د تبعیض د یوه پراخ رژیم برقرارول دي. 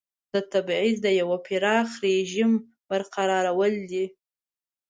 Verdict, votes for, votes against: accepted, 2, 0